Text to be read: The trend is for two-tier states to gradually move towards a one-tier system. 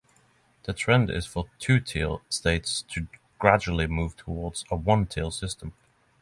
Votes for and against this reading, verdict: 9, 0, accepted